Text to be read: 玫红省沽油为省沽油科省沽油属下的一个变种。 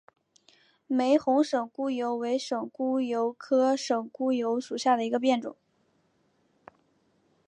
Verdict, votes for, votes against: accepted, 2, 0